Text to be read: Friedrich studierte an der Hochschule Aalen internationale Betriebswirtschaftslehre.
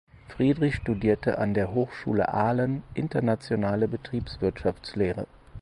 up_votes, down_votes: 4, 0